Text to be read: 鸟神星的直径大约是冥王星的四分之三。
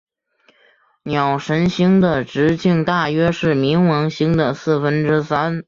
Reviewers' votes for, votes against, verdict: 1, 2, rejected